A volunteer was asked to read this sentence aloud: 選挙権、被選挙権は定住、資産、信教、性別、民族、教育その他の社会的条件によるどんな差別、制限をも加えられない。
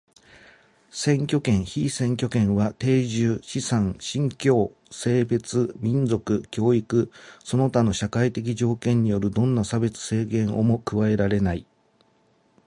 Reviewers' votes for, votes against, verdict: 2, 1, accepted